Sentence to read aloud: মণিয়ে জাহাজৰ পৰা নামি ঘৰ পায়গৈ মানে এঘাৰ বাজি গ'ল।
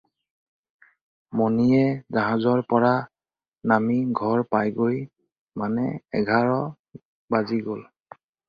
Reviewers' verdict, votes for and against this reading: accepted, 4, 0